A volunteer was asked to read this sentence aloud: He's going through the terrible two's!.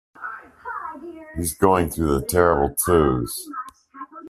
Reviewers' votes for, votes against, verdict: 2, 0, accepted